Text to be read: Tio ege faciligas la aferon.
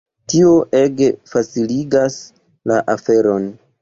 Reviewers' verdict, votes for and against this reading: rejected, 1, 3